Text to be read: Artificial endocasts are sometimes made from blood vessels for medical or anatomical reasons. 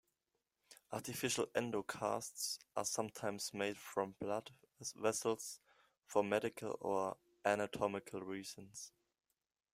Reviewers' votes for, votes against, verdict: 2, 1, accepted